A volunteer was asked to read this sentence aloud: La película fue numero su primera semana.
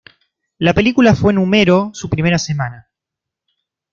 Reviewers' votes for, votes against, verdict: 0, 2, rejected